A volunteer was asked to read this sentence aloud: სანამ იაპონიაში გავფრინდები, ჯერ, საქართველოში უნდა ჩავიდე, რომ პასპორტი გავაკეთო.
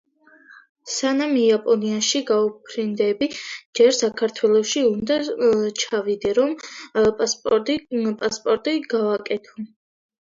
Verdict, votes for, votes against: rejected, 0, 2